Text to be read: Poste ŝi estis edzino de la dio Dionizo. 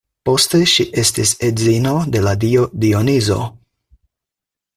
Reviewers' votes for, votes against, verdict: 4, 0, accepted